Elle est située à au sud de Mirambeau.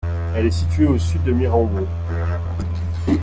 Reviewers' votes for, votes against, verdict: 0, 2, rejected